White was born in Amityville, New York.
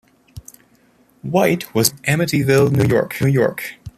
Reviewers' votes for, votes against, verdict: 0, 2, rejected